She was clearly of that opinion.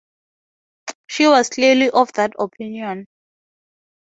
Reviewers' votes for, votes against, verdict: 2, 0, accepted